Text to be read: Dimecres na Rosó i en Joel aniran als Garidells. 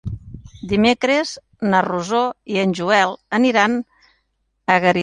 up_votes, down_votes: 0, 2